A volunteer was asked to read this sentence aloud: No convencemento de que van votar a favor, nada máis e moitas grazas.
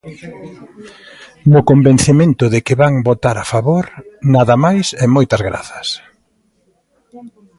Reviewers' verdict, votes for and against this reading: accepted, 2, 0